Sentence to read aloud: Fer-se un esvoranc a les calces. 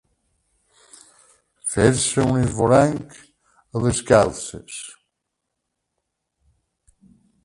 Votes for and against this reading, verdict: 0, 2, rejected